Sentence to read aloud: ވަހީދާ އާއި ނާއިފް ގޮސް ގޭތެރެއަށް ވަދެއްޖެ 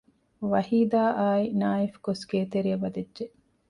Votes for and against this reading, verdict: 2, 0, accepted